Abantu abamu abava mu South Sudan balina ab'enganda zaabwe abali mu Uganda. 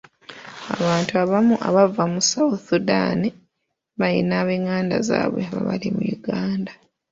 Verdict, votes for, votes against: rejected, 1, 2